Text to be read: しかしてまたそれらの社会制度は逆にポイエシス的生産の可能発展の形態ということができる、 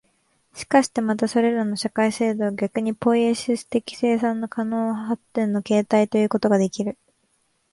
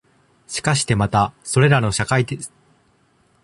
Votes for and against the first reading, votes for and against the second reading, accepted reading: 11, 0, 0, 2, first